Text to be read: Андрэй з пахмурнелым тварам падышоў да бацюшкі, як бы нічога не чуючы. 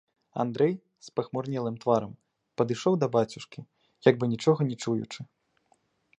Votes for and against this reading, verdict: 2, 0, accepted